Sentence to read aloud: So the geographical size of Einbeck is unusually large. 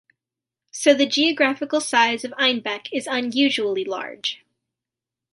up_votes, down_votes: 2, 0